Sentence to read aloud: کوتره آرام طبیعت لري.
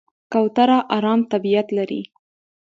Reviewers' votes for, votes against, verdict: 2, 0, accepted